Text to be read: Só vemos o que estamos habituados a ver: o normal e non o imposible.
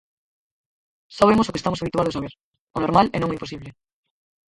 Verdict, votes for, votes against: rejected, 0, 6